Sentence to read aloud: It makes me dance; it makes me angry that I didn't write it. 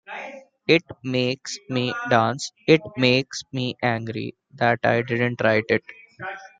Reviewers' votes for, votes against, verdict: 0, 2, rejected